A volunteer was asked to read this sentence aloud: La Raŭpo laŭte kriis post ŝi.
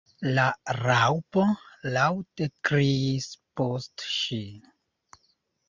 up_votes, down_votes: 2, 0